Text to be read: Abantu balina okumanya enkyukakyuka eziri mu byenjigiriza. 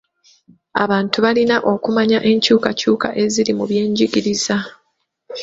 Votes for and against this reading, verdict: 2, 0, accepted